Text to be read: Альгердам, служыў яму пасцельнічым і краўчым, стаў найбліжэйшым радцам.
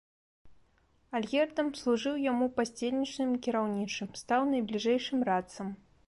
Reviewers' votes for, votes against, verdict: 0, 2, rejected